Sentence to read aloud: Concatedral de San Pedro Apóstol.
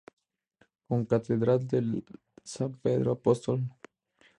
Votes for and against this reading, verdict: 0, 2, rejected